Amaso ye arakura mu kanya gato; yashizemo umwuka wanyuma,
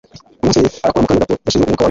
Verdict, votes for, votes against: rejected, 1, 2